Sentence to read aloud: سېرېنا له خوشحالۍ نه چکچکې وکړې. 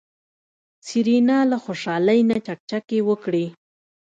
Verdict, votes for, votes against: accepted, 2, 0